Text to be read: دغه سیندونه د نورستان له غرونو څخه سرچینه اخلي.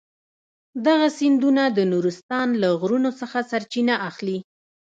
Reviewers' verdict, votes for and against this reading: accepted, 2, 1